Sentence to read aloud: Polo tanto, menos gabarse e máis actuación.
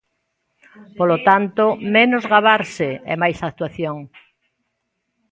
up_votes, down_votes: 2, 1